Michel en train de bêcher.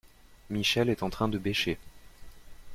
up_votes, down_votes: 1, 2